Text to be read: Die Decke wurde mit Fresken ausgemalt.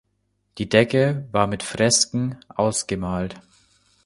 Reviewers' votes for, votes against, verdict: 0, 2, rejected